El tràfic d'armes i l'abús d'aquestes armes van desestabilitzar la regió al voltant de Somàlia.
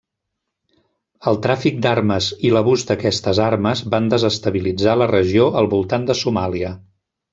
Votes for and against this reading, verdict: 2, 0, accepted